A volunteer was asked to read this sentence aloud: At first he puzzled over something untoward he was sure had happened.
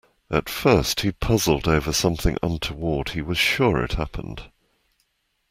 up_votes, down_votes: 2, 0